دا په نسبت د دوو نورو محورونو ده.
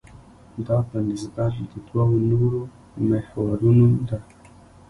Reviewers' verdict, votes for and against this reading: rejected, 1, 2